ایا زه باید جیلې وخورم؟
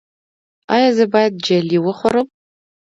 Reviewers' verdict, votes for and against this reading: accepted, 2, 0